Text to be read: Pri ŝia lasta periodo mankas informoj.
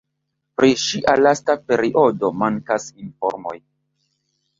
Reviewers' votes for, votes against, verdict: 2, 0, accepted